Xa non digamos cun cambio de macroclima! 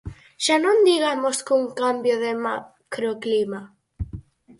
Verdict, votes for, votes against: rejected, 0, 4